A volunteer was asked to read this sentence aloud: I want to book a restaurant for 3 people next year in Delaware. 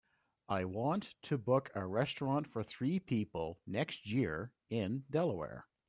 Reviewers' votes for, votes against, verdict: 0, 2, rejected